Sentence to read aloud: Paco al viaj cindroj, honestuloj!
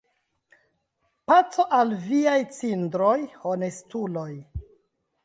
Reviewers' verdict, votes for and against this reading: rejected, 1, 2